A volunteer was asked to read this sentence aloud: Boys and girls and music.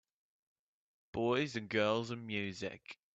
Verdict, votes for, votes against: rejected, 0, 2